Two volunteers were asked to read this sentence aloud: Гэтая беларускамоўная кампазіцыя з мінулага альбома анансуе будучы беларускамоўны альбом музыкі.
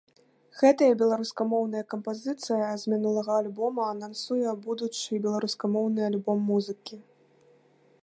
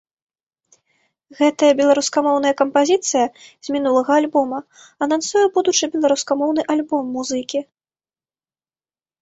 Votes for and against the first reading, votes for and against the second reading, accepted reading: 0, 2, 2, 0, second